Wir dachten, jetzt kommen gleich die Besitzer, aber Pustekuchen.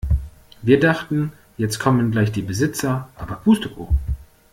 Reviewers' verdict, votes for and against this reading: accepted, 2, 0